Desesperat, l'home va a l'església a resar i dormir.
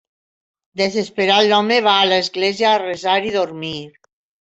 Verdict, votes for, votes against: accepted, 2, 0